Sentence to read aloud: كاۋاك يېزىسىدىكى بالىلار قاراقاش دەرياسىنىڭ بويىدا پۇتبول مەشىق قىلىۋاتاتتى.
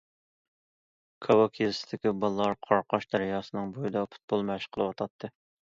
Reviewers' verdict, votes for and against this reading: accepted, 2, 0